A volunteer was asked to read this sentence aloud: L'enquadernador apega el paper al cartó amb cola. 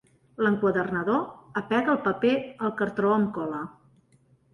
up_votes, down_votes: 1, 2